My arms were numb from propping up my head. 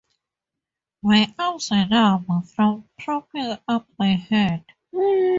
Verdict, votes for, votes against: accepted, 2, 0